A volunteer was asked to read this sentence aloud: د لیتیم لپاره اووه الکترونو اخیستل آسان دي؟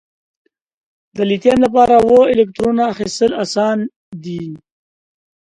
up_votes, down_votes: 4, 0